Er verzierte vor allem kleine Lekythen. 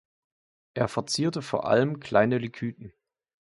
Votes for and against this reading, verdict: 2, 0, accepted